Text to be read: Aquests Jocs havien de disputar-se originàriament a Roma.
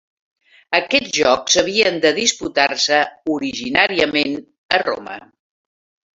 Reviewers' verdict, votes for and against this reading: accepted, 3, 0